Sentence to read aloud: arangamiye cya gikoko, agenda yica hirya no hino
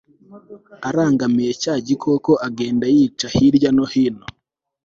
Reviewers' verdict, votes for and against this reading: accepted, 2, 0